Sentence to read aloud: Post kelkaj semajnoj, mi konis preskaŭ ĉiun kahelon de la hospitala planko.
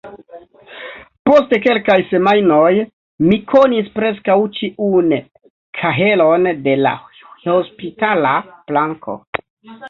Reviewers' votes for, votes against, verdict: 0, 2, rejected